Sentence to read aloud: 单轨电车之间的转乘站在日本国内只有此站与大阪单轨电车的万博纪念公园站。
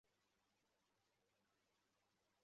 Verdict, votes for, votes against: rejected, 1, 3